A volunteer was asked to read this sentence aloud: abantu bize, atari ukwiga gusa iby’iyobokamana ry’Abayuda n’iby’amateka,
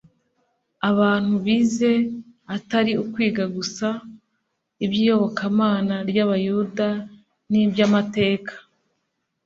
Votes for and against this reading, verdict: 3, 0, accepted